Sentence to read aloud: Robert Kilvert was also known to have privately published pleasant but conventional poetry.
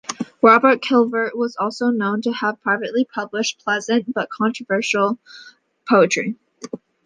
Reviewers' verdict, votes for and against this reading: rejected, 0, 2